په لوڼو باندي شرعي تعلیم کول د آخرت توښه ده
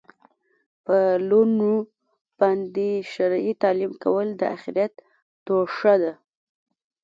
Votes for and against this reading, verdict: 1, 2, rejected